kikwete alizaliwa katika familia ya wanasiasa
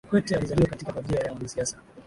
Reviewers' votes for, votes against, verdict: 1, 2, rejected